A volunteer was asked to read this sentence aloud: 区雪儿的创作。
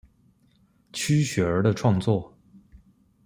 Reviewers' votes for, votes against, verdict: 2, 0, accepted